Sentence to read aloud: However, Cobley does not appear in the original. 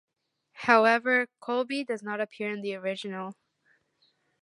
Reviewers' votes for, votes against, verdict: 2, 1, accepted